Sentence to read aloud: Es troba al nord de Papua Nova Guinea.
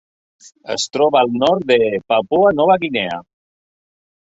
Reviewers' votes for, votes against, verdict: 3, 0, accepted